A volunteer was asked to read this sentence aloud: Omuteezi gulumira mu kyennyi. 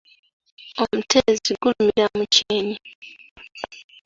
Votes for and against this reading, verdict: 0, 2, rejected